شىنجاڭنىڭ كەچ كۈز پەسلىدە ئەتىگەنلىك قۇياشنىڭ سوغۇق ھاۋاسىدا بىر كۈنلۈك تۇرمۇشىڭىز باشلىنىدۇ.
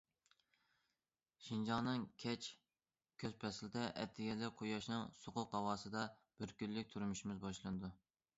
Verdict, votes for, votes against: rejected, 0, 2